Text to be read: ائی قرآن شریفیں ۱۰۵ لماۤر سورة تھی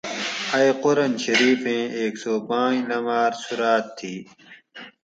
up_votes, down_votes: 0, 2